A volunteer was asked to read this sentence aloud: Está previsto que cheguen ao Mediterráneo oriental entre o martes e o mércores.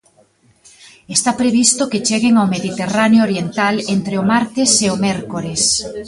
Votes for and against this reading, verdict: 2, 1, accepted